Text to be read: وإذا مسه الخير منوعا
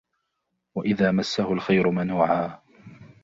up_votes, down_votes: 2, 1